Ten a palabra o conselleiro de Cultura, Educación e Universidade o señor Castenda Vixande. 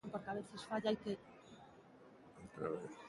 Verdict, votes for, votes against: rejected, 0, 2